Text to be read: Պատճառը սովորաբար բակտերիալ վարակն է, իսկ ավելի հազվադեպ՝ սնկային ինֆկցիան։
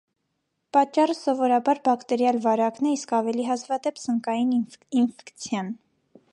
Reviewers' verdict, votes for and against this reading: rejected, 0, 2